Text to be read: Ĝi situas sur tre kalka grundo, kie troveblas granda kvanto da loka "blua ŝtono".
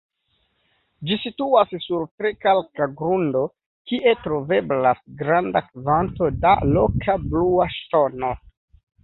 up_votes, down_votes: 2, 3